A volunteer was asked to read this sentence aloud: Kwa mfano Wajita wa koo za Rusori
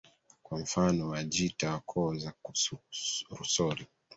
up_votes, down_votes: 1, 2